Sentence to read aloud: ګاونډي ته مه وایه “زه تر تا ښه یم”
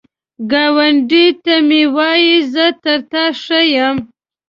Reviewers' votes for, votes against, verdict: 0, 2, rejected